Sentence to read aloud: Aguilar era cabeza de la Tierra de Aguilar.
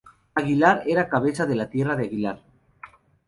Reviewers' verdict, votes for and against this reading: accepted, 2, 0